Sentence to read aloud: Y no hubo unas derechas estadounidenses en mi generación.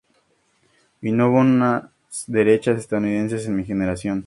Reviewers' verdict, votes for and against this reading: accepted, 2, 0